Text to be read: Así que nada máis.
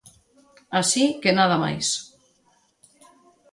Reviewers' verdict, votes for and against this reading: accepted, 2, 0